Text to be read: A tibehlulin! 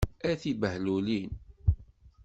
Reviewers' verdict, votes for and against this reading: accepted, 2, 0